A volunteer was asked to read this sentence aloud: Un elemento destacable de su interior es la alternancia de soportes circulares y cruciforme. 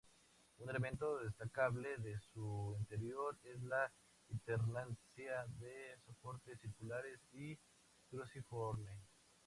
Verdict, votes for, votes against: accepted, 2, 0